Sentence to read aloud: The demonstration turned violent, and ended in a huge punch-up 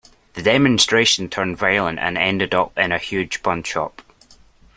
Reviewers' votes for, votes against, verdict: 0, 2, rejected